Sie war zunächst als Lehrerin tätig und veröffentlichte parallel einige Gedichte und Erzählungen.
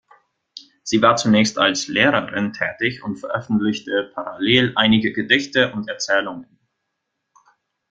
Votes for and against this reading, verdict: 2, 0, accepted